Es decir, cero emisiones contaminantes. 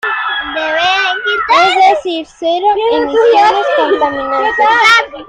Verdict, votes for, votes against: rejected, 0, 2